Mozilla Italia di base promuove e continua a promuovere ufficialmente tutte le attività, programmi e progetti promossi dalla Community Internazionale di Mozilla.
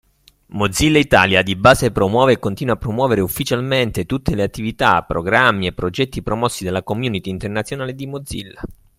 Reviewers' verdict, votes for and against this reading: accepted, 2, 0